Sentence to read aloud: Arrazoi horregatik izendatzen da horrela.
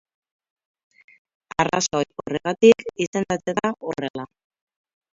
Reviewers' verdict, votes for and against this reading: rejected, 2, 4